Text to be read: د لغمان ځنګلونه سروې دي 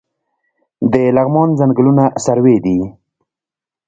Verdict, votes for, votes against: rejected, 1, 2